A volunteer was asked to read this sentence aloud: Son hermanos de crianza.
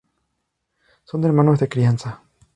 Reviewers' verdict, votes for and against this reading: accepted, 2, 0